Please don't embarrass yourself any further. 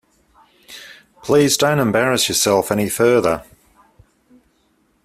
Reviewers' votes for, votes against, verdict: 2, 0, accepted